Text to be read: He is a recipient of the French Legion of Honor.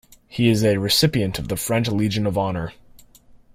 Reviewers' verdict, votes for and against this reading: accepted, 2, 0